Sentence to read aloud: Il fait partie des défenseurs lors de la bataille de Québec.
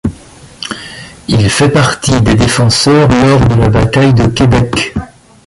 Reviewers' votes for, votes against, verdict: 1, 2, rejected